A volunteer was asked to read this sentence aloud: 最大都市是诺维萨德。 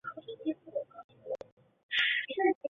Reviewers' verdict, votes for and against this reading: rejected, 1, 2